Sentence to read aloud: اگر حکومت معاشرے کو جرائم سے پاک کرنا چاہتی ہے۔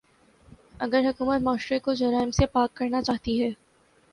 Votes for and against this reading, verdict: 1, 2, rejected